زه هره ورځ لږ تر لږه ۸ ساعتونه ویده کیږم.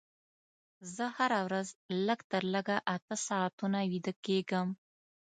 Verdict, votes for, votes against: rejected, 0, 2